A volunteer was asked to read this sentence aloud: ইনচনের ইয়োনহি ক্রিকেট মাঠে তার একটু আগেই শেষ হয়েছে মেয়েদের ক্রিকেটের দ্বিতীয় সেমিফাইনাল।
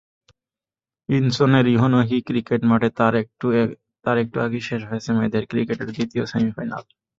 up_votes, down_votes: 0, 2